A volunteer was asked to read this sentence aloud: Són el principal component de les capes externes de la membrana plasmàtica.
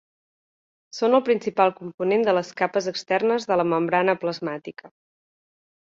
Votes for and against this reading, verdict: 3, 0, accepted